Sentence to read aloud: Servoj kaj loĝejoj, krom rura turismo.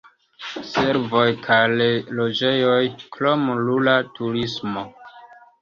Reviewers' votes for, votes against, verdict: 2, 1, accepted